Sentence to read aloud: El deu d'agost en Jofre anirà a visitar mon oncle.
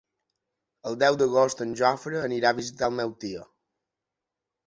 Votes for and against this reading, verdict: 0, 2, rejected